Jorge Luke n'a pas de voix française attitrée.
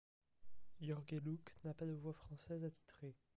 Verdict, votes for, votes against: rejected, 0, 2